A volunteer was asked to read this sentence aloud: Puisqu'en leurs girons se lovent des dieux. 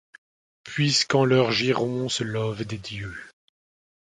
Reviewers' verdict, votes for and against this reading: accepted, 2, 0